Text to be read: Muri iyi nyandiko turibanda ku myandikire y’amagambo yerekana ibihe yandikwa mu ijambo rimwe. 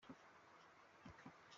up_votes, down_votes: 0, 4